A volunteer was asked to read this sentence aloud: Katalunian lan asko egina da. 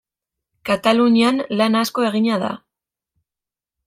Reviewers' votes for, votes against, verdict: 2, 0, accepted